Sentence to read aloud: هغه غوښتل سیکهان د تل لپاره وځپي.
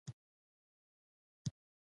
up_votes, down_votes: 0, 2